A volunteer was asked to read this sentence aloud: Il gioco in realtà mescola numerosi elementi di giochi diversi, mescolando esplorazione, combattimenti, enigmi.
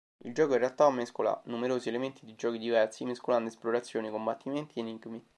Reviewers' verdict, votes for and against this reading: accepted, 2, 0